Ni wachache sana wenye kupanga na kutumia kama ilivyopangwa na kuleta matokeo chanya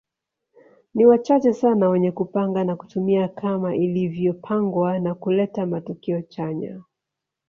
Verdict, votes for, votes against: rejected, 0, 2